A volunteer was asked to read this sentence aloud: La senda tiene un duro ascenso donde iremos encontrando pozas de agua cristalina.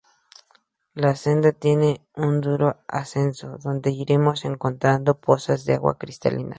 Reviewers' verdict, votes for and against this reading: accepted, 4, 0